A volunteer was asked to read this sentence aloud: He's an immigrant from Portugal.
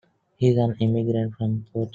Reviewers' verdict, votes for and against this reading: rejected, 0, 2